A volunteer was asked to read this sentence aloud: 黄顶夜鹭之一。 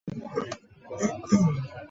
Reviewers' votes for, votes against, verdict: 0, 2, rejected